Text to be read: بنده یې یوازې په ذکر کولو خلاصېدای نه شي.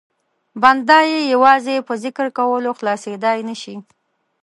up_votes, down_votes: 2, 0